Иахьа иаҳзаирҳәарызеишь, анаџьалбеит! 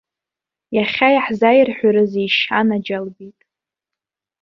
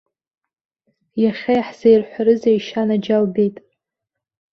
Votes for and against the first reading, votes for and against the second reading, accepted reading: 0, 2, 2, 0, second